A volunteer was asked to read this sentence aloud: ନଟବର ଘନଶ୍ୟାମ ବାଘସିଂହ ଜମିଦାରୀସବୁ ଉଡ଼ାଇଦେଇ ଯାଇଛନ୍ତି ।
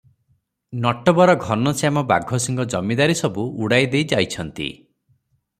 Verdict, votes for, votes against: accepted, 6, 0